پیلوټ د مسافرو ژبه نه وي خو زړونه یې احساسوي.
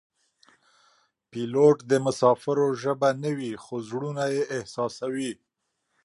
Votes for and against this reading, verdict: 2, 0, accepted